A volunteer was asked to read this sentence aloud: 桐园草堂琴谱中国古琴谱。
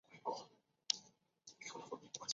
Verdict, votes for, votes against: rejected, 0, 3